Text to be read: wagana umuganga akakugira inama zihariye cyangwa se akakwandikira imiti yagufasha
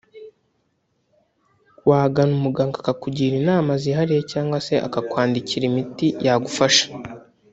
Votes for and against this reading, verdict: 1, 2, rejected